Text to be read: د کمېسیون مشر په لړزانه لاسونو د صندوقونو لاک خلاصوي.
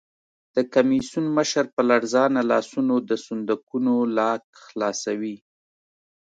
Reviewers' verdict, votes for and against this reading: accepted, 2, 0